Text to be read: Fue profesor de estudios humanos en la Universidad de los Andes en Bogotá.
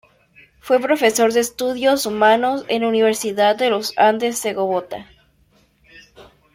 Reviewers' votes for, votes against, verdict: 0, 2, rejected